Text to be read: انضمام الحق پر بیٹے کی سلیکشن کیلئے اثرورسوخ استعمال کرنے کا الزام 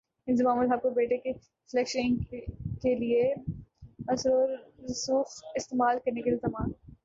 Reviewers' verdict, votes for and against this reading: rejected, 0, 3